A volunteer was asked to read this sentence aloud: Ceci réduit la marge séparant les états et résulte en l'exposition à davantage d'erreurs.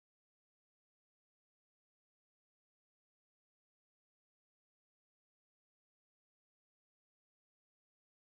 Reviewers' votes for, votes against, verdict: 0, 2, rejected